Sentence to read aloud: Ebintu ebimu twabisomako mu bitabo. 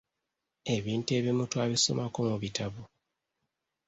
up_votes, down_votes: 2, 0